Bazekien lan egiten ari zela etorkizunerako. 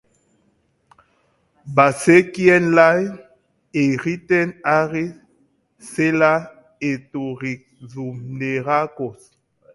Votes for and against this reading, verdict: 0, 2, rejected